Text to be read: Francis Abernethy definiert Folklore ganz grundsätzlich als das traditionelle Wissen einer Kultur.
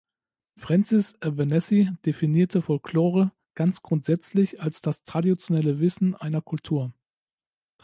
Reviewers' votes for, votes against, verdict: 1, 2, rejected